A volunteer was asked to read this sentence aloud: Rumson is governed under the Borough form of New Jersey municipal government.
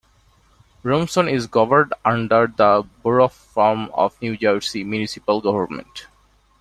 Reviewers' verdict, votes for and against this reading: rejected, 1, 2